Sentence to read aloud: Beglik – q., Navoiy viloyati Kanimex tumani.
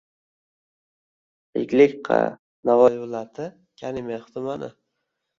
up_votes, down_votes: 1, 2